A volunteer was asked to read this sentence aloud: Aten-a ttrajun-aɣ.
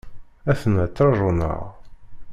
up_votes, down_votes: 1, 2